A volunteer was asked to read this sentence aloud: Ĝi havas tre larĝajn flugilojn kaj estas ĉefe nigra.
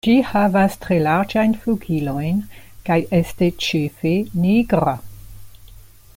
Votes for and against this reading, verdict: 1, 2, rejected